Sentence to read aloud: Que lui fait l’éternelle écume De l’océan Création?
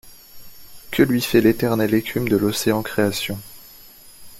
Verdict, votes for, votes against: accepted, 3, 0